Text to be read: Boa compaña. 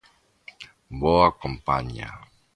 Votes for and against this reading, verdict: 2, 0, accepted